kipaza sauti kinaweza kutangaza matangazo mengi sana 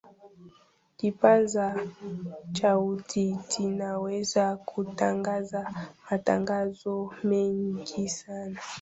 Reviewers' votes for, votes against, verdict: 0, 2, rejected